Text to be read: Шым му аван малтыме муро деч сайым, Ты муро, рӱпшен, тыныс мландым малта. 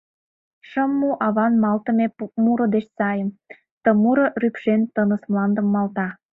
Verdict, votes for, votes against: rejected, 1, 2